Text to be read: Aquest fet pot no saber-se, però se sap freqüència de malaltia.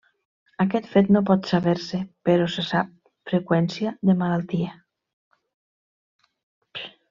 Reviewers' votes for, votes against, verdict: 1, 2, rejected